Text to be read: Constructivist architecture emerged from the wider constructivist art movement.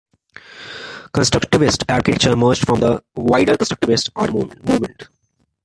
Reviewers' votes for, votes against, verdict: 2, 0, accepted